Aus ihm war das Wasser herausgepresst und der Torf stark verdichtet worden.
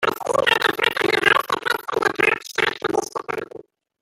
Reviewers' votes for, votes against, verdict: 0, 2, rejected